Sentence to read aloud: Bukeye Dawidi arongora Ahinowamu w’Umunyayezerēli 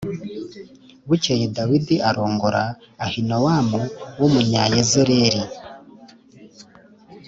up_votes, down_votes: 4, 0